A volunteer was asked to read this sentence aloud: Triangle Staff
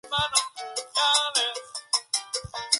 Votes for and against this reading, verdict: 0, 6, rejected